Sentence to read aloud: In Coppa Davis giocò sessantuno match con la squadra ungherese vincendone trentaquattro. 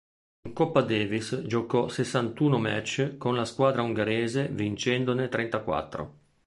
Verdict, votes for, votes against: accepted, 2, 0